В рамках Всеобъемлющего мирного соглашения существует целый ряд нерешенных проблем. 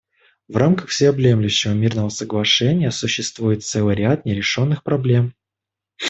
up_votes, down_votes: 2, 0